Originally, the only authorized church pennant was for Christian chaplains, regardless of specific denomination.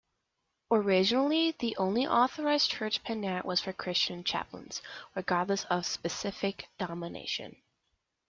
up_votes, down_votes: 0, 2